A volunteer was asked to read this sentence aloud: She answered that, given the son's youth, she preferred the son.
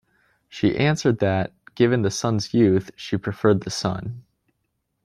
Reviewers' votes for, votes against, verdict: 2, 0, accepted